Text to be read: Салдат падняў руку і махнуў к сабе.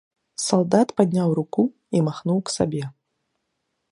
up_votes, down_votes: 2, 0